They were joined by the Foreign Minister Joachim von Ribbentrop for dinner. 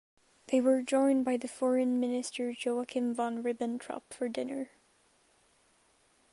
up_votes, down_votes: 2, 0